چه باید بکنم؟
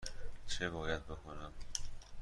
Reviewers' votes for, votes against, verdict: 2, 0, accepted